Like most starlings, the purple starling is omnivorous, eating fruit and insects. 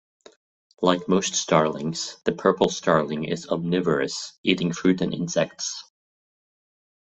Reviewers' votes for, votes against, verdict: 2, 0, accepted